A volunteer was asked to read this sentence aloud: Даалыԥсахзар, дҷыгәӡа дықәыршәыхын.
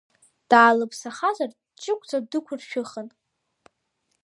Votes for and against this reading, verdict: 2, 0, accepted